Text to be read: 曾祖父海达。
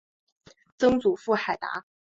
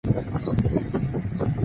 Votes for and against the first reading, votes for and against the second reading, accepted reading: 2, 1, 0, 4, first